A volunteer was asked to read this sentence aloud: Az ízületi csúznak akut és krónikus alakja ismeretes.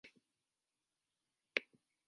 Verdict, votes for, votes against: rejected, 0, 4